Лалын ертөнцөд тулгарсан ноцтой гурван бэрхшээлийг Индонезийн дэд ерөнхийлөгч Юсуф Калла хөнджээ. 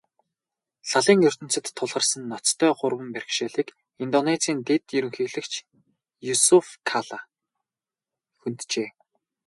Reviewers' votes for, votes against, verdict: 2, 2, rejected